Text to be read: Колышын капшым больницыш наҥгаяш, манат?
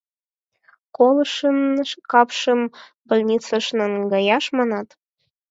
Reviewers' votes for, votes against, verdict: 4, 0, accepted